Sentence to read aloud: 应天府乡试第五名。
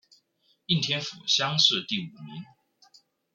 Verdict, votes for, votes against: rejected, 1, 2